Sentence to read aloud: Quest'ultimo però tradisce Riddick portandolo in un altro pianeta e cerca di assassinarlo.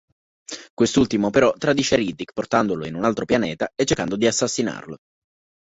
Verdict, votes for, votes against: rejected, 0, 2